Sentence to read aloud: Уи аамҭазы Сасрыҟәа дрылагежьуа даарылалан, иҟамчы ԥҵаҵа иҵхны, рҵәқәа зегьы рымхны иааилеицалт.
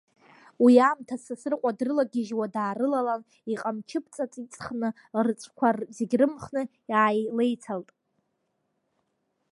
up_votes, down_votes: 0, 2